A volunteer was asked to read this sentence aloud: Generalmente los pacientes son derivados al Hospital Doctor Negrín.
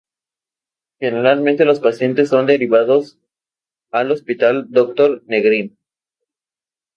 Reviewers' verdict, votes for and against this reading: accepted, 2, 0